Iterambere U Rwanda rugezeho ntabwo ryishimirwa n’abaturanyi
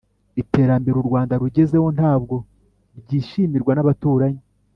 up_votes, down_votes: 3, 0